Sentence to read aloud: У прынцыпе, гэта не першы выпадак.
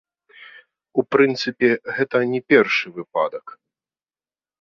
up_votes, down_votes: 2, 0